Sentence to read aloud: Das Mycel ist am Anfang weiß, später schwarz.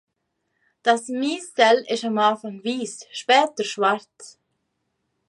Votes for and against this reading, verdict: 0, 2, rejected